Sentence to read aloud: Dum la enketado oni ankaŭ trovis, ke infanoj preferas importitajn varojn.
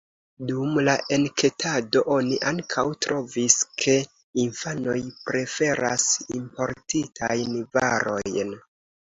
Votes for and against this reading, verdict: 2, 0, accepted